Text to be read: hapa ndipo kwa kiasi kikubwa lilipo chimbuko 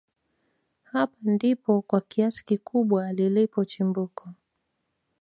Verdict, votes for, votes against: accepted, 2, 0